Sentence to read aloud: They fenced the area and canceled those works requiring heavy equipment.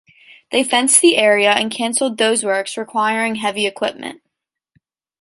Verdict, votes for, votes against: accepted, 2, 0